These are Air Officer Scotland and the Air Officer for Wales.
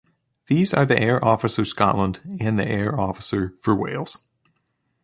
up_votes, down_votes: 1, 3